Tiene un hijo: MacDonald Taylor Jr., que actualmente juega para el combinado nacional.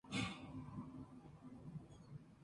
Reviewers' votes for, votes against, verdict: 0, 2, rejected